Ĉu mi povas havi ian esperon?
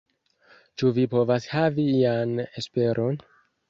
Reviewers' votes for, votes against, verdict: 0, 3, rejected